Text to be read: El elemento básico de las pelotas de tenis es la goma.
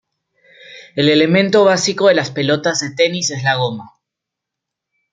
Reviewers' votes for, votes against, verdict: 2, 0, accepted